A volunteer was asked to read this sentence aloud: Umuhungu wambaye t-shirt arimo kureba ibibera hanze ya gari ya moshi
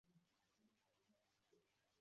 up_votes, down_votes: 0, 2